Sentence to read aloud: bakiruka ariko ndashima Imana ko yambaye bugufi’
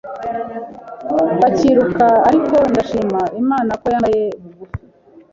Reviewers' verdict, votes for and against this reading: rejected, 1, 2